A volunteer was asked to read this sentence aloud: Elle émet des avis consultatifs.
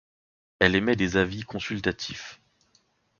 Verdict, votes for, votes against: accepted, 2, 0